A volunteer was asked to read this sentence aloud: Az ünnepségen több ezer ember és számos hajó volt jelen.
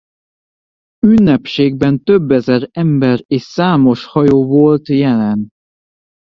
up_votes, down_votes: 0, 2